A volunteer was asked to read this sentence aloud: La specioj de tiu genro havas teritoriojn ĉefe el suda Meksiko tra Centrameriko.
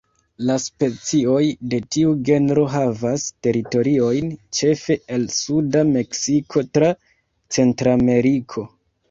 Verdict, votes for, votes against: accepted, 2, 0